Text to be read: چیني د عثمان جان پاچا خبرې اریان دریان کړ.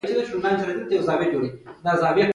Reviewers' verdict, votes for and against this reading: accepted, 2, 1